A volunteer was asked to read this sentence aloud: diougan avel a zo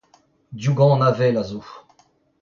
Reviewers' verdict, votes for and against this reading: rejected, 0, 2